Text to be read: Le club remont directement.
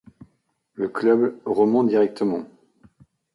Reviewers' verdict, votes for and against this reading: accepted, 2, 0